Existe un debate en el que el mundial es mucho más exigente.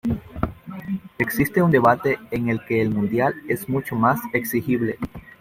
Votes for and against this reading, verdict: 0, 2, rejected